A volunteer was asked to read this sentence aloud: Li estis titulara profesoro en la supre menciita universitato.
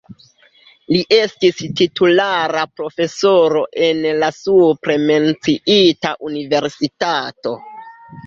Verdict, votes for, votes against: accepted, 2, 1